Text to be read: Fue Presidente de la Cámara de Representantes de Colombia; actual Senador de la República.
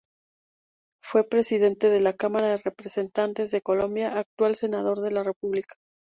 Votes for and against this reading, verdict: 2, 0, accepted